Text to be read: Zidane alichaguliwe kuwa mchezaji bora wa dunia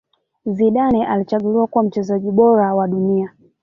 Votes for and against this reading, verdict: 1, 2, rejected